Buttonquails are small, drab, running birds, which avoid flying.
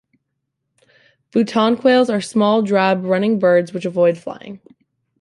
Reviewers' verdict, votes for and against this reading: accepted, 2, 1